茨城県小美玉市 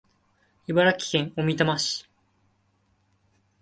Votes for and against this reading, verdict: 2, 0, accepted